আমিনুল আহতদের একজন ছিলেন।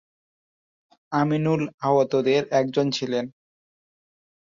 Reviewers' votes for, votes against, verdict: 2, 0, accepted